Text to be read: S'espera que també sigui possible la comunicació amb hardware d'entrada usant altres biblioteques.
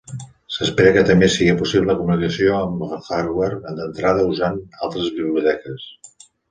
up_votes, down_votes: 1, 2